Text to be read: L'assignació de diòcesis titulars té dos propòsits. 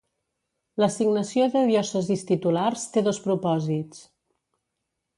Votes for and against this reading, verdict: 2, 0, accepted